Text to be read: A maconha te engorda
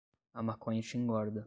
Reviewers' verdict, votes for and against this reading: rejected, 0, 5